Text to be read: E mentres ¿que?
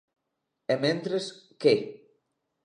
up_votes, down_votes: 2, 0